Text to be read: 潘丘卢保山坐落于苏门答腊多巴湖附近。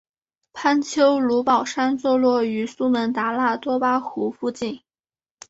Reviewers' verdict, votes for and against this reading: accepted, 2, 0